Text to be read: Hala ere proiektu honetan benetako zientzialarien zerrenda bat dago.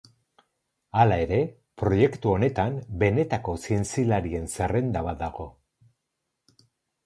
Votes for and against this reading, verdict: 6, 0, accepted